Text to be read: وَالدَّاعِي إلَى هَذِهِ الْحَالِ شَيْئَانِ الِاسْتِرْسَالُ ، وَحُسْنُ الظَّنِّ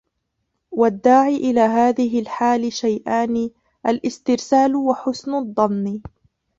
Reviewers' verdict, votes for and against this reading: rejected, 0, 2